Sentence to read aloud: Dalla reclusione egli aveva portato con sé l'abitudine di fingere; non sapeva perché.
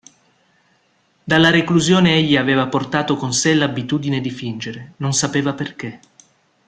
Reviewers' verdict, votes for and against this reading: accepted, 2, 0